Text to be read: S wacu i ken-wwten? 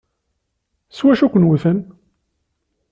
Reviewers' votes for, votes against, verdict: 2, 0, accepted